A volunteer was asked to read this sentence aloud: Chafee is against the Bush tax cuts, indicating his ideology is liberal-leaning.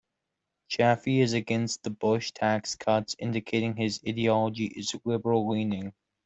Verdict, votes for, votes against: accepted, 2, 1